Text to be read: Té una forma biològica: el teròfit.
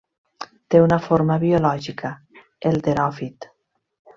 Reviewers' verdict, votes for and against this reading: accepted, 3, 0